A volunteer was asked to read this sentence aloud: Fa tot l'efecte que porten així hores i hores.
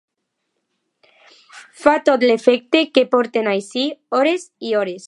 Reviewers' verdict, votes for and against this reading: accepted, 2, 0